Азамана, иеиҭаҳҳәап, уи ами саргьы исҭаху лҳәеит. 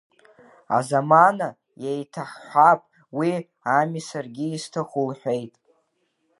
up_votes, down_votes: 0, 2